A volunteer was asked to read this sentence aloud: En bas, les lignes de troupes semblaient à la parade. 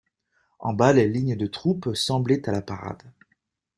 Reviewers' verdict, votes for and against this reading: accepted, 2, 0